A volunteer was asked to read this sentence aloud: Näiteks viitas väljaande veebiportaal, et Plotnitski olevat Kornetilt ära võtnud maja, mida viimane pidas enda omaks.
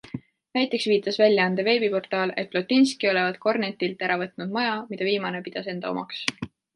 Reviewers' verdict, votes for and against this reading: rejected, 1, 2